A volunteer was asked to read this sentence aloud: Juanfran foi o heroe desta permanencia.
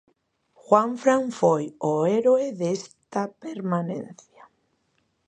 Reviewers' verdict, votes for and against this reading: rejected, 0, 2